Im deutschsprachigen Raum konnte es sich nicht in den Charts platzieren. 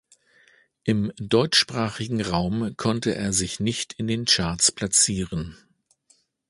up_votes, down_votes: 1, 2